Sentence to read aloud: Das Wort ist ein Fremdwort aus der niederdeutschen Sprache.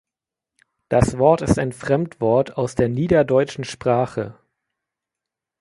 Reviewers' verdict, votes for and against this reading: rejected, 1, 2